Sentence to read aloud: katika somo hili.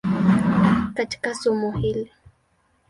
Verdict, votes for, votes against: rejected, 1, 2